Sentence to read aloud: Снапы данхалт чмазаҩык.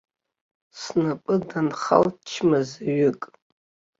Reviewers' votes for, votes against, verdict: 1, 3, rejected